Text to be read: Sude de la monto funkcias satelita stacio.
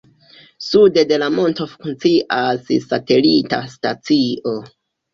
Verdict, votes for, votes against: rejected, 1, 2